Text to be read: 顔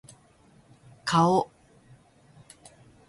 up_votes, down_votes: 1, 2